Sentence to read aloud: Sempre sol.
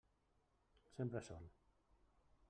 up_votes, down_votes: 3, 0